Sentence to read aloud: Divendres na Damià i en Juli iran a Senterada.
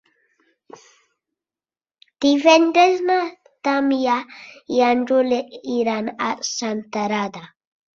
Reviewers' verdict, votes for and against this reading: accepted, 6, 0